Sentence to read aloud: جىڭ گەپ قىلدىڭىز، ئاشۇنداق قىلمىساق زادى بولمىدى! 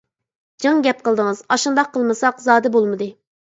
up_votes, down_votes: 2, 0